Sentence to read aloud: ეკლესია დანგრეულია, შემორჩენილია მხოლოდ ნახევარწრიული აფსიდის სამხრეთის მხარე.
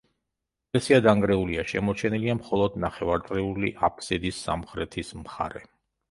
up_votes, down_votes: 0, 2